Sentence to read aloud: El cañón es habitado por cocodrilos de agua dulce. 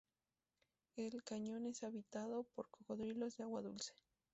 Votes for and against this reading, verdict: 4, 0, accepted